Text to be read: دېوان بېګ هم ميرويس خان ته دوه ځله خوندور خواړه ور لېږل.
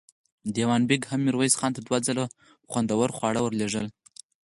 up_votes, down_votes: 4, 2